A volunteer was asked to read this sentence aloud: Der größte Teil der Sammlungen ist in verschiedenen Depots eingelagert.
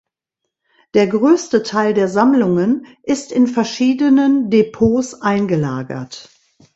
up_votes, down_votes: 2, 0